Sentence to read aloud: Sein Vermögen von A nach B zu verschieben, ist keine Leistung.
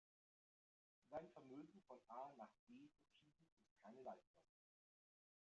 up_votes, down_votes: 0, 2